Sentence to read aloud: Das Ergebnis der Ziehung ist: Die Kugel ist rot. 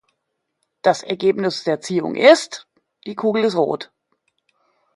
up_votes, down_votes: 2, 0